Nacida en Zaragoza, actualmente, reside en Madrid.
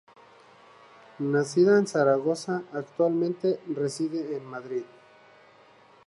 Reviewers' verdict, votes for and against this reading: accepted, 2, 0